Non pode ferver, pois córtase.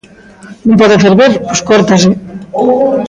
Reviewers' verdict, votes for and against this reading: rejected, 0, 2